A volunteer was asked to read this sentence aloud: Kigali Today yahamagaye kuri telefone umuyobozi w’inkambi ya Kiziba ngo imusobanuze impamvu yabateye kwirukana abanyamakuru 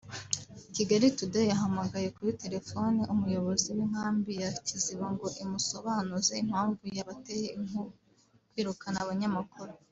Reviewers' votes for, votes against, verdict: 0, 2, rejected